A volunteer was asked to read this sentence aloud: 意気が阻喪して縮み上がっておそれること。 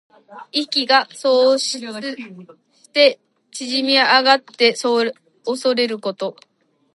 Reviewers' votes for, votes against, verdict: 3, 1, accepted